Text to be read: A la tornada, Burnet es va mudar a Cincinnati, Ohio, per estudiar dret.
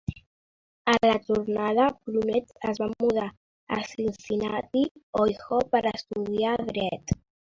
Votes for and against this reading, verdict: 0, 2, rejected